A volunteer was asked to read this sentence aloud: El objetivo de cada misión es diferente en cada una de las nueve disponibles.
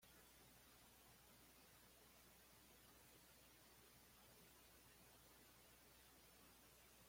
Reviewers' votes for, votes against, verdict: 1, 2, rejected